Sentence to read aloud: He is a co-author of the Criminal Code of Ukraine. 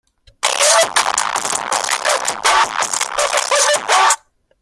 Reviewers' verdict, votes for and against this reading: rejected, 0, 2